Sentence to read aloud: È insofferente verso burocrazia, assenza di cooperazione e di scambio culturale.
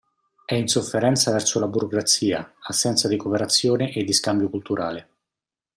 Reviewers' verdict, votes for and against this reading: rejected, 0, 2